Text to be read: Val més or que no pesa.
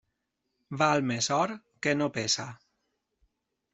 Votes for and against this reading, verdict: 0, 2, rejected